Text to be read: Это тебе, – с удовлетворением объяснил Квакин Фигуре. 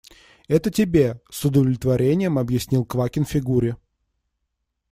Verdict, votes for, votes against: accepted, 2, 0